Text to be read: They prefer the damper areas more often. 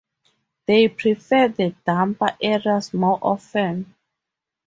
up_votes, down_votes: 4, 0